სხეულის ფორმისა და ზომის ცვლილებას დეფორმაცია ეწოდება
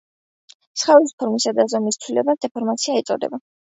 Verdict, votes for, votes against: accepted, 3, 0